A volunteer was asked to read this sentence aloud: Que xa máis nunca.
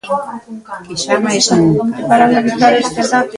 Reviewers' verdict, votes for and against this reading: rejected, 0, 2